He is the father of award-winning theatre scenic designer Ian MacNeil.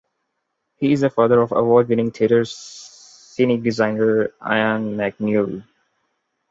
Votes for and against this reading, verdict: 1, 2, rejected